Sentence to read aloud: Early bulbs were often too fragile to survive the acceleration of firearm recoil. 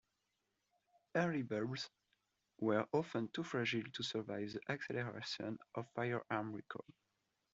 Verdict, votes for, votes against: rejected, 1, 2